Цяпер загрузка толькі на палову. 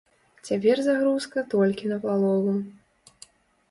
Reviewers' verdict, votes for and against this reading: accepted, 2, 0